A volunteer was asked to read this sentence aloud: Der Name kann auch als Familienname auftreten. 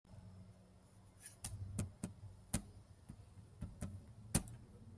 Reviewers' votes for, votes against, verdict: 0, 2, rejected